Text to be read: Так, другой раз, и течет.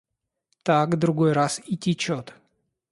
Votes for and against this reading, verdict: 2, 0, accepted